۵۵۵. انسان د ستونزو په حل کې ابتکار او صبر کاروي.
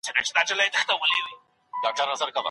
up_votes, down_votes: 0, 2